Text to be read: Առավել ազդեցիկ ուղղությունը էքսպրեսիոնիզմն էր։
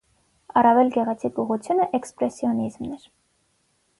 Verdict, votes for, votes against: rejected, 3, 6